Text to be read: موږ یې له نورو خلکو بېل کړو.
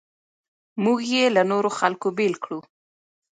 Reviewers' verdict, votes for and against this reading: rejected, 1, 2